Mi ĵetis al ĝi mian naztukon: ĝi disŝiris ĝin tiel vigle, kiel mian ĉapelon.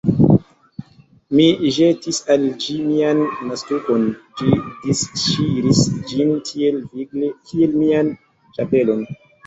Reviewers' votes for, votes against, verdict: 2, 0, accepted